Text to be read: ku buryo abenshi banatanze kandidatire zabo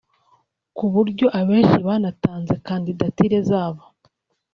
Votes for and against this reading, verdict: 3, 0, accepted